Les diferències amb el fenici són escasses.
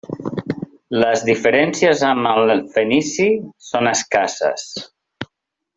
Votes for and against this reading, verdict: 1, 2, rejected